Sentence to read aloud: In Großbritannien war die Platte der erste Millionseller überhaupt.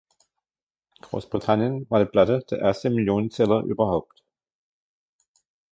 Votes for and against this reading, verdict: 1, 2, rejected